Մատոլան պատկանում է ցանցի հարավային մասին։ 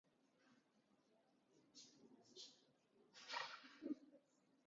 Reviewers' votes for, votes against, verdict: 0, 2, rejected